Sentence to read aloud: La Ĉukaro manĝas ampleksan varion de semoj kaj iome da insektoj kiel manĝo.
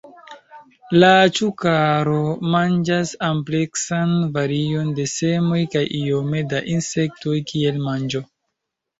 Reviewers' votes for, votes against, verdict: 2, 0, accepted